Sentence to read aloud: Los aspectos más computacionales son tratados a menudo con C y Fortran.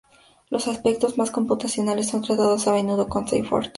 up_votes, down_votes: 2, 0